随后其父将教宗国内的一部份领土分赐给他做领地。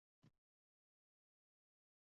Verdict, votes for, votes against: rejected, 0, 4